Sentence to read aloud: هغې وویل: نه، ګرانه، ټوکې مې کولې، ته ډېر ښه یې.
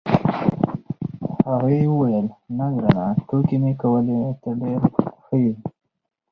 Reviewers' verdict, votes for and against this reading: accepted, 4, 0